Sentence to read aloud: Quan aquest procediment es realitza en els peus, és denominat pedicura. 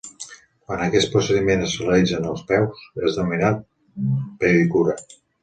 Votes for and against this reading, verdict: 1, 2, rejected